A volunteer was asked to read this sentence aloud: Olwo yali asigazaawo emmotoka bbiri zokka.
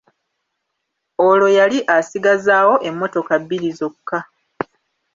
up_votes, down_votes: 2, 0